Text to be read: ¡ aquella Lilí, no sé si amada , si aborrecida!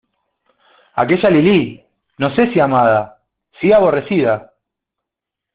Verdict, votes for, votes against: accepted, 2, 0